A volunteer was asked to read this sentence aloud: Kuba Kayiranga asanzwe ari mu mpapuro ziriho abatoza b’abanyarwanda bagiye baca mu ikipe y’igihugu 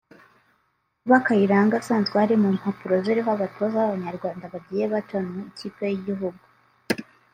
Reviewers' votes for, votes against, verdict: 0, 2, rejected